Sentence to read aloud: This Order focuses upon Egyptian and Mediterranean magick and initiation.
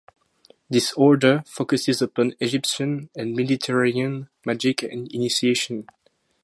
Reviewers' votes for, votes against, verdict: 2, 0, accepted